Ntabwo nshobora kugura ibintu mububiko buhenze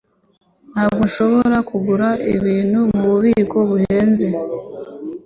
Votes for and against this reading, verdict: 2, 0, accepted